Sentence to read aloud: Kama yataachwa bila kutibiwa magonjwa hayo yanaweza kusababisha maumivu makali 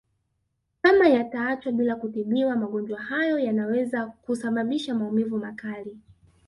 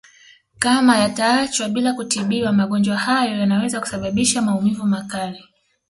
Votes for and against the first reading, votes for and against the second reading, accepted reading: 0, 2, 2, 0, second